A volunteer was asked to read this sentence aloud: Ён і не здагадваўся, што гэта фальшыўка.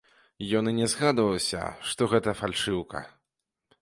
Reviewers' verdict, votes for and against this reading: rejected, 0, 2